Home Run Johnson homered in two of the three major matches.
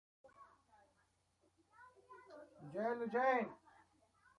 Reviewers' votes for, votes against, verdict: 1, 2, rejected